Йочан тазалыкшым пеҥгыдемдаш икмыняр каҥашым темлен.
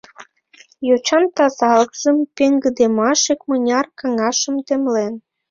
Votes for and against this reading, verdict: 0, 2, rejected